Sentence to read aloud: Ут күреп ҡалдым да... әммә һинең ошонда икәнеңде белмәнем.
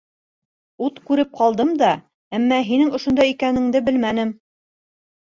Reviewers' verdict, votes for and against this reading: accepted, 2, 0